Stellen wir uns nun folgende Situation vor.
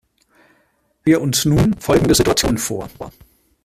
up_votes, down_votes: 0, 2